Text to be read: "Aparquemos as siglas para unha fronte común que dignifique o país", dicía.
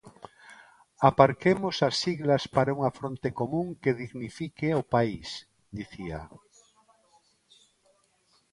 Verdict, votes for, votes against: accepted, 2, 0